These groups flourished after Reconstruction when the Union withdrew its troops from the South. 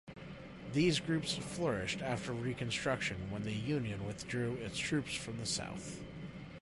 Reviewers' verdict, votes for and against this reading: accepted, 2, 0